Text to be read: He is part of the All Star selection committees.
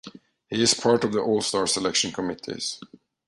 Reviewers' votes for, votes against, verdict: 2, 0, accepted